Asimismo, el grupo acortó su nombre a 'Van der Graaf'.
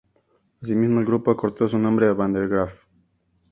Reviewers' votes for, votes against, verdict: 2, 0, accepted